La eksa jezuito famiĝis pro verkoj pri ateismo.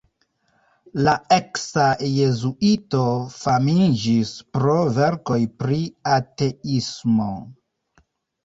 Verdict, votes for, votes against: rejected, 0, 2